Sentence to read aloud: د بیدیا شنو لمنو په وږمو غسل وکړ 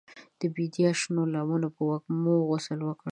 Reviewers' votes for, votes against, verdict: 2, 0, accepted